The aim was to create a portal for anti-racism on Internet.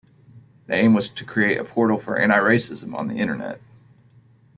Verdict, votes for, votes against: accepted, 2, 0